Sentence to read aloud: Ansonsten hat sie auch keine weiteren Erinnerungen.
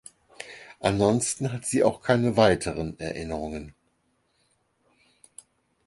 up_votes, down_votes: 6, 0